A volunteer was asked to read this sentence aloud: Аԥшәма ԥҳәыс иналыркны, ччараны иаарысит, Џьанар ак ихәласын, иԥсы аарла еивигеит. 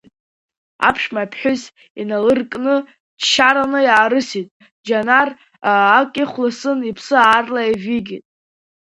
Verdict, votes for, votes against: accepted, 2, 1